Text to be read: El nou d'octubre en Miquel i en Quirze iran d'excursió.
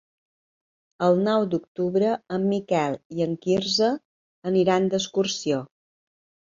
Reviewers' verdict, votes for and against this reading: rejected, 2, 3